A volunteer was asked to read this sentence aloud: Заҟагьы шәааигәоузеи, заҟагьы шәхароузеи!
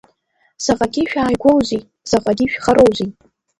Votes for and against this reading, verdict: 1, 2, rejected